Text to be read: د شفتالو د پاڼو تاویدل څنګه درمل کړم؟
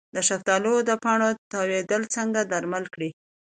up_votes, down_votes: 2, 0